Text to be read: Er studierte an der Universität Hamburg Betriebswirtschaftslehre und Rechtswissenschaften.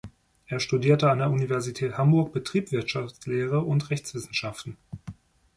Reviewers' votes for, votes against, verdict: 0, 2, rejected